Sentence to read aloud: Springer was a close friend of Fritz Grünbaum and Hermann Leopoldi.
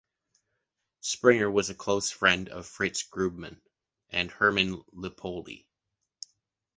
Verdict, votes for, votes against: rejected, 1, 2